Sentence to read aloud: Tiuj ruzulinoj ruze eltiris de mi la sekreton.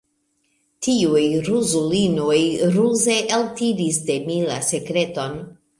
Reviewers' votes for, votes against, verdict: 2, 0, accepted